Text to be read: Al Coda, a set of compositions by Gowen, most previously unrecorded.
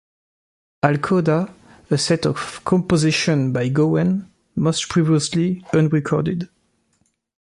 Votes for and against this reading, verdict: 0, 2, rejected